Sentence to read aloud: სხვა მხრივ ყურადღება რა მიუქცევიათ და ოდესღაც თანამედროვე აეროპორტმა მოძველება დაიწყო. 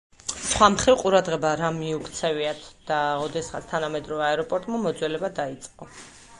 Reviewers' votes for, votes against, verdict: 2, 4, rejected